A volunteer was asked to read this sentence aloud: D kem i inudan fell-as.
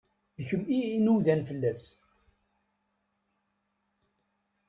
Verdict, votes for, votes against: rejected, 1, 2